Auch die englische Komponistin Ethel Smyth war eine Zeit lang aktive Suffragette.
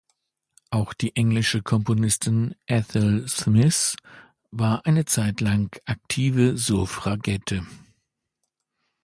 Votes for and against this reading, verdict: 0, 2, rejected